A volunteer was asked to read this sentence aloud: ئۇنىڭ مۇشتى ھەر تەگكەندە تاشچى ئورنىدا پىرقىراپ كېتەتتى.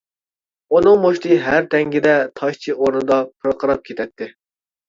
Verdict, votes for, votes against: rejected, 0, 2